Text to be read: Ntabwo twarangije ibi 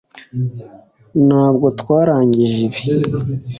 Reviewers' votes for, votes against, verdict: 3, 0, accepted